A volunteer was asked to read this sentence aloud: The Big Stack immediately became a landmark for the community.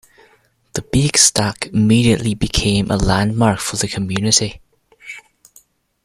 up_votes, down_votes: 2, 1